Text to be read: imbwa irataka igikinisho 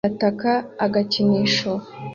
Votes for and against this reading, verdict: 0, 2, rejected